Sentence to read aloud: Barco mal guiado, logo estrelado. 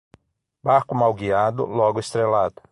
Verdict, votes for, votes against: rejected, 3, 6